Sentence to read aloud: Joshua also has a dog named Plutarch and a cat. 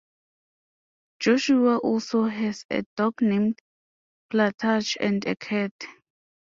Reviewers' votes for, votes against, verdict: 2, 0, accepted